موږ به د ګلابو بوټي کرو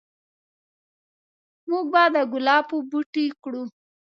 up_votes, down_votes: 0, 2